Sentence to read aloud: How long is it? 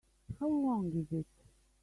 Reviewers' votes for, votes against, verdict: 1, 2, rejected